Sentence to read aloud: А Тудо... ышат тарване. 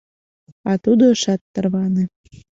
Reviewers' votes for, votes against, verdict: 2, 0, accepted